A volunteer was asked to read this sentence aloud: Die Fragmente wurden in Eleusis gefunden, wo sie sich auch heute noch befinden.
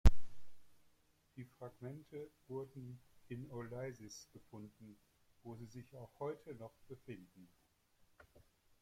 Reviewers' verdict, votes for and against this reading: accepted, 2, 0